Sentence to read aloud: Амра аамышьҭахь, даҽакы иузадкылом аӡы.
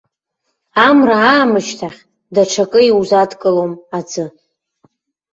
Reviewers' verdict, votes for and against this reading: rejected, 1, 2